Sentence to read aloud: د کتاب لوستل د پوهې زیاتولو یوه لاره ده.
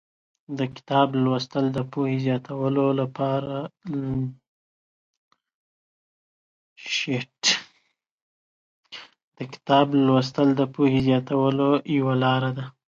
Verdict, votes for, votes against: rejected, 1, 2